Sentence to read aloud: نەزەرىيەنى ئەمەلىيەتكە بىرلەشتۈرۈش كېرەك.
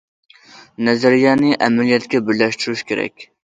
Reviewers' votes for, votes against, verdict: 2, 0, accepted